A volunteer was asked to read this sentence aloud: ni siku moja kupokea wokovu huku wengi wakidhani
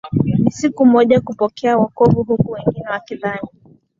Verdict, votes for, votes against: accepted, 2, 0